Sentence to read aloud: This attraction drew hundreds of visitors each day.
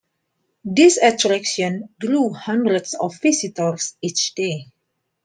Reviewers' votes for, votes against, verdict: 2, 0, accepted